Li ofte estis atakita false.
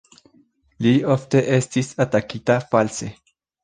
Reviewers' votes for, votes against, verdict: 2, 0, accepted